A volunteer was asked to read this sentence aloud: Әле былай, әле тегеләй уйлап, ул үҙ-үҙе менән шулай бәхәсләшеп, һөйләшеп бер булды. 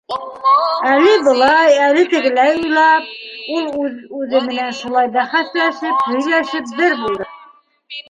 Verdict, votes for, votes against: rejected, 1, 2